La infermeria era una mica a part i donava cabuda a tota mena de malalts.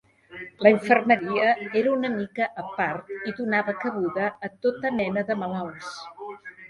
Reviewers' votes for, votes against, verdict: 2, 0, accepted